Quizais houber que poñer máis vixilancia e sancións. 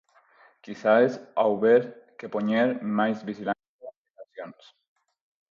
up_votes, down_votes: 0, 4